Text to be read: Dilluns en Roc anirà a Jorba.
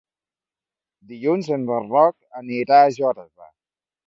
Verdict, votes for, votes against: rejected, 0, 2